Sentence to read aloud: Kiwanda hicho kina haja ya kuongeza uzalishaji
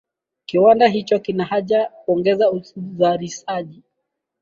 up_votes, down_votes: 4, 1